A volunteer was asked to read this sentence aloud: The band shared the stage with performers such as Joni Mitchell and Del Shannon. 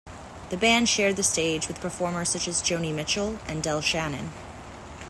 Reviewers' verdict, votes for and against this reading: accepted, 2, 0